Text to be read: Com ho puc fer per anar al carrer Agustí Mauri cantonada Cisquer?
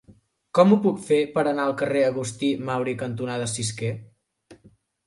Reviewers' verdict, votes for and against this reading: accepted, 3, 0